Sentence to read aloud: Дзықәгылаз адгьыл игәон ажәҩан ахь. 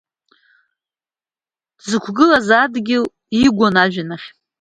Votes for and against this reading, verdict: 2, 0, accepted